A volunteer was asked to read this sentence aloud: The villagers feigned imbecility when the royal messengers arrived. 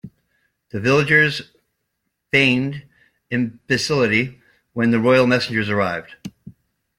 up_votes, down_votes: 2, 0